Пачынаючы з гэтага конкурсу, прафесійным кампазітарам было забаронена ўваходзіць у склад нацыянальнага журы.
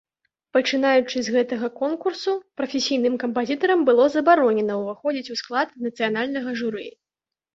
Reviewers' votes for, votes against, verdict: 2, 0, accepted